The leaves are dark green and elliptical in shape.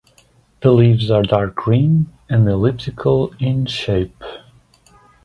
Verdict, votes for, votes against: accepted, 2, 0